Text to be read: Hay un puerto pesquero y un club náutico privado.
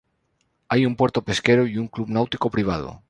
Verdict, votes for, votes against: accepted, 2, 0